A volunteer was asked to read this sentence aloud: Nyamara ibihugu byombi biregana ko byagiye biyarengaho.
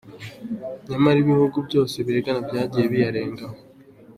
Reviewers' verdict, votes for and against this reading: accepted, 2, 0